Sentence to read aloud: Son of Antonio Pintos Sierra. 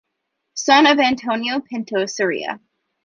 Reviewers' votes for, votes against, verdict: 1, 2, rejected